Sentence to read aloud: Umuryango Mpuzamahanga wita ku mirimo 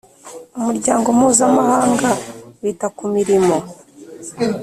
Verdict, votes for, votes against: accepted, 2, 0